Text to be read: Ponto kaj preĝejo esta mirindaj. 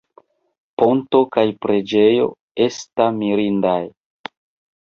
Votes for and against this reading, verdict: 0, 2, rejected